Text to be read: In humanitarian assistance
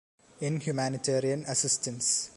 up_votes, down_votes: 2, 0